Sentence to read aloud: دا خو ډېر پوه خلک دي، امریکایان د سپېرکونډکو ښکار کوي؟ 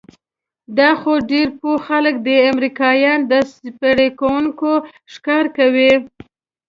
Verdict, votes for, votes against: rejected, 1, 2